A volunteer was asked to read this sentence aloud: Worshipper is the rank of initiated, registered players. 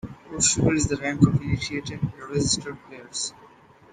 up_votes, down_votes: 1, 2